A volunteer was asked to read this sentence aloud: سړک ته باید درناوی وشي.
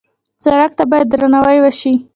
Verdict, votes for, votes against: rejected, 1, 2